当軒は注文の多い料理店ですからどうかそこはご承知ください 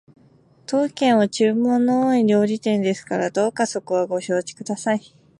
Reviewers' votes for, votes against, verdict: 2, 0, accepted